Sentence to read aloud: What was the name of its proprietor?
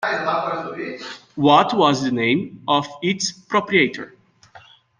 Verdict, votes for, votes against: accepted, 2, 1